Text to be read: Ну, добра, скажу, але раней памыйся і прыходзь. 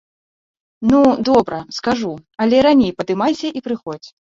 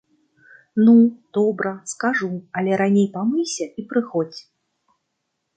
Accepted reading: second